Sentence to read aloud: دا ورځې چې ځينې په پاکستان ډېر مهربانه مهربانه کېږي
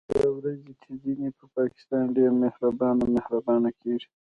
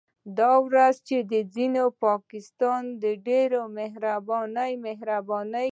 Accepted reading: second